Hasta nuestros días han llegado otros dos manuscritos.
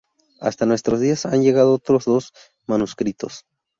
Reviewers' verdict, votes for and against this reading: rejected, 0, 2